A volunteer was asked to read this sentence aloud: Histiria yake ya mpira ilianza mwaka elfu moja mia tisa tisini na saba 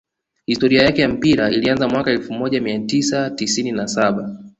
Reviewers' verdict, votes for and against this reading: rejected, 1, 2